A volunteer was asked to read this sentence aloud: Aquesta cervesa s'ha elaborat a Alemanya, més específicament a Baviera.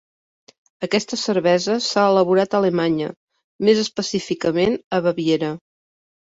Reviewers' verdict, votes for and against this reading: accepted, 2, 0